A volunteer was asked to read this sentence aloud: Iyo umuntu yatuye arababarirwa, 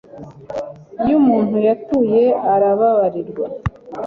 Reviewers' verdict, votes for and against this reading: accepted, 2, 0